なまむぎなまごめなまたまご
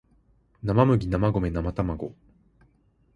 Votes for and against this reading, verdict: 4, 0, accepted